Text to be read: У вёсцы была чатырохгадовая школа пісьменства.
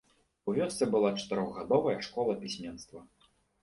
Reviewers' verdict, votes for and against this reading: accepted, 2, 0